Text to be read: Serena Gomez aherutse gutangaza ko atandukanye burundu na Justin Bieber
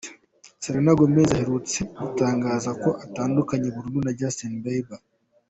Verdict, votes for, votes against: accepted, 2, 0